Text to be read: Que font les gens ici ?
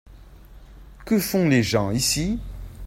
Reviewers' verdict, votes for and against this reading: accepted, 2, 0